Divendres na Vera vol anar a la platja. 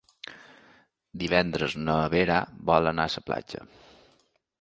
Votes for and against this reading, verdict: 0, 2, rejected